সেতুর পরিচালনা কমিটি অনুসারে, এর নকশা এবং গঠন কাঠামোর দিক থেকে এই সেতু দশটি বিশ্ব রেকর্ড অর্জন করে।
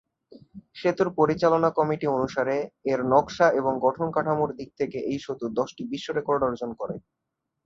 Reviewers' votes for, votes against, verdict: 2, 0, accepted